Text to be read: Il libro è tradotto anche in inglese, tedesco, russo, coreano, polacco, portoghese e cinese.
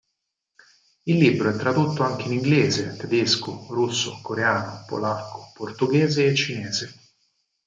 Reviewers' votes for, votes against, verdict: 4, 0, accepted